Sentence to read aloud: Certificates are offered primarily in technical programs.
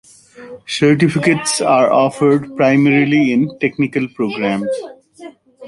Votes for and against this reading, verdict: 2, 0, accepted